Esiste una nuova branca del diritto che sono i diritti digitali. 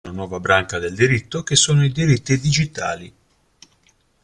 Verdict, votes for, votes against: rejected, 0, 2